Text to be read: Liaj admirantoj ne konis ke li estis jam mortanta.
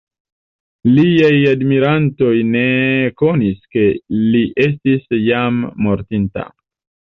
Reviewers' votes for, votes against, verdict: 3, 2, accepted